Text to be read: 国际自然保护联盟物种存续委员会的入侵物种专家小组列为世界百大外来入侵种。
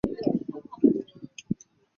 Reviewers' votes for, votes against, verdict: 0, 6, rejected